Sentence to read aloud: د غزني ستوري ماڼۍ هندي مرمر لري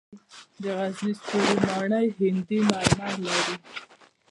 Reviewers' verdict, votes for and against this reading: rejected, 0, 2